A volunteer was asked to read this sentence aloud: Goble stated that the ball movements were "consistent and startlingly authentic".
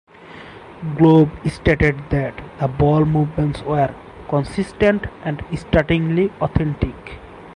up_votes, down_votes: 0, 4